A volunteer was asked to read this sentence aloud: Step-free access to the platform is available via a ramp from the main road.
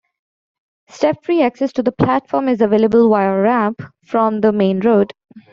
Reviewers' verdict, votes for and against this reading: accepted, 2, 1